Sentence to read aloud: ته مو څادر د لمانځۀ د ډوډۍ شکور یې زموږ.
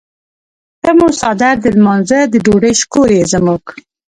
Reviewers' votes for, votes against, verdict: 2, 0, accepted